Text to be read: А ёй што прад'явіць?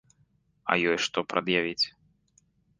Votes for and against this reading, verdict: 2, 0, accepted